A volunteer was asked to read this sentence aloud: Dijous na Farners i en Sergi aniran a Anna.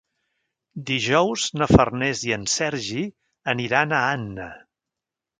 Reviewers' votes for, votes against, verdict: 3, 0, accepted